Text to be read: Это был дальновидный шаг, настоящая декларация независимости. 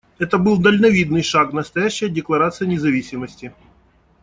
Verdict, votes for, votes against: accepted, 2, 0